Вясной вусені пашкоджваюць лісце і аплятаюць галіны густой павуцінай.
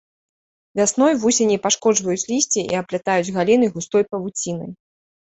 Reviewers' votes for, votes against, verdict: 2, 0, accepted